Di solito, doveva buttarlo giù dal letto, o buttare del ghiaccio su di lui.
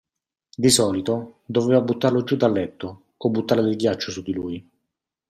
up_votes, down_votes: 2, 0